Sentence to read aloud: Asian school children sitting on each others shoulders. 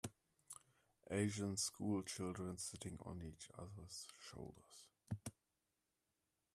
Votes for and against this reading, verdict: 2, 0, accepted